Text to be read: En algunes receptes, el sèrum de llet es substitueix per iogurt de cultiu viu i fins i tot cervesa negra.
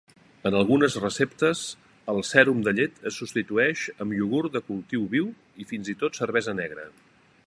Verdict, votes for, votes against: rejected, 0, 2